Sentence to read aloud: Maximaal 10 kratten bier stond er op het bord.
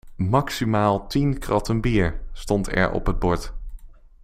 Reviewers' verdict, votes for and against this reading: rejected, 0, 2